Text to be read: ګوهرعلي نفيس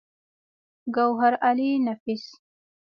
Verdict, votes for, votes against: accepted, 4, 0